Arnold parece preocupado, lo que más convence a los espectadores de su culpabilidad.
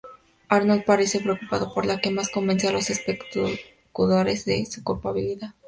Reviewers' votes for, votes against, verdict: 0, 2, rejected